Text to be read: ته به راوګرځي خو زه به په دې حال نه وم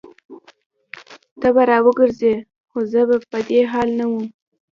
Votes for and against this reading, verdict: 1, 2, rejected